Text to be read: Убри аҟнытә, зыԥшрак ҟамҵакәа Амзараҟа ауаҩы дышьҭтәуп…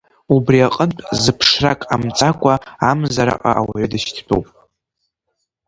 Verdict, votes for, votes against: rejected, 1, 2